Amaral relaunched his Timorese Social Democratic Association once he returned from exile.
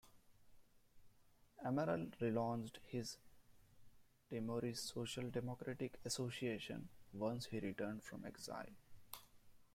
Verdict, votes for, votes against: accepted, 2, 1